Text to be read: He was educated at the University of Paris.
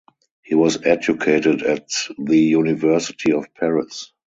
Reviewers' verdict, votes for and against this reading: accepted, 8, 0